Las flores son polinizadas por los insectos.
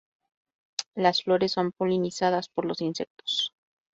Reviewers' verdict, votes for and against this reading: accepted, 2, 0